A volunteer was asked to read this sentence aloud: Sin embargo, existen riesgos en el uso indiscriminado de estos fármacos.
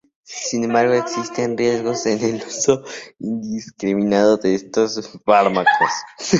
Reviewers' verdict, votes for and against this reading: rejected, 0, 4